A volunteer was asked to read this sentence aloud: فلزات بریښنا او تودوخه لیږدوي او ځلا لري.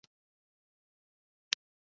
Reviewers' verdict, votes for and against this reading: rejected, 0, 2